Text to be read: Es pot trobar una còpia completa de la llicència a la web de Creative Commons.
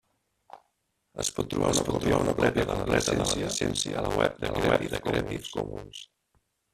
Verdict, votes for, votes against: rejected, 0, 2